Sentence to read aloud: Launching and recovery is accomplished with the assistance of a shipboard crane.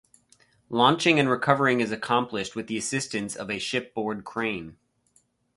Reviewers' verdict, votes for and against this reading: rejected, 2, 2